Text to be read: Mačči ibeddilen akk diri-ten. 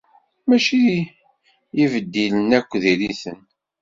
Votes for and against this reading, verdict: 2, 0, accepted